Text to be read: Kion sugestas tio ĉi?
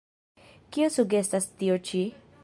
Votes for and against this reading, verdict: 1, 2, rejected